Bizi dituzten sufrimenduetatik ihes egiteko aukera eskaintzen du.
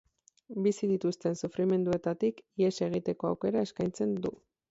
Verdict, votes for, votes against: rejected, 2, 2